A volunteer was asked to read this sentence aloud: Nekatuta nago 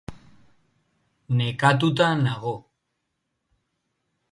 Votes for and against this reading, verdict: 3, 0, accepted